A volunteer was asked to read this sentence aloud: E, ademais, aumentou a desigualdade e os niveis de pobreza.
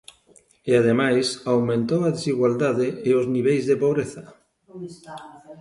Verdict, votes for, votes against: rejected, 0, 2